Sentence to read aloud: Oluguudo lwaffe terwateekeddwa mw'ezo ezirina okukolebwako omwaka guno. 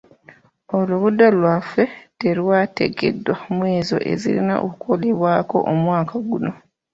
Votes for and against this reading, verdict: 1, 2, rejected